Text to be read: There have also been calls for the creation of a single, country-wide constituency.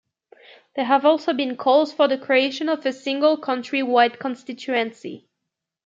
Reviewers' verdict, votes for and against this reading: accepted, 2, 0